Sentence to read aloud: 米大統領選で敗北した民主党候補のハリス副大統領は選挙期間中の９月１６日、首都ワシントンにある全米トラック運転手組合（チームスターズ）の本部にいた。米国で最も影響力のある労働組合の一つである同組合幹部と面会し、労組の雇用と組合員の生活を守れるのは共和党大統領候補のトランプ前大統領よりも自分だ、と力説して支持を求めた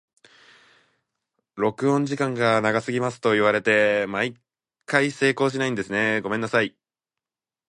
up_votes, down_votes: 0, 2